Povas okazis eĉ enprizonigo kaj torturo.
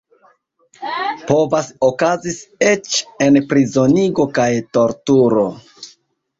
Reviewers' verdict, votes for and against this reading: rejected, 1, 2